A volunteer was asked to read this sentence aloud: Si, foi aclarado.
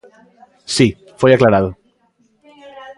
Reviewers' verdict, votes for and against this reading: rejected, 1, 2